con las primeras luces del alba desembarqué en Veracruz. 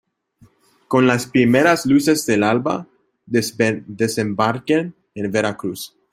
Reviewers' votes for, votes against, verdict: 0, 2, rejected